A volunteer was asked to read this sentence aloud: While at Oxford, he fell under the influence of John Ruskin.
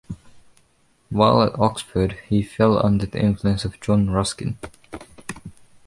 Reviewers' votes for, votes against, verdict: 2, 0, accepted